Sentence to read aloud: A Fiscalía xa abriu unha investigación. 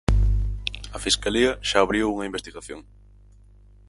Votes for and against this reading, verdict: 4, 0, accepted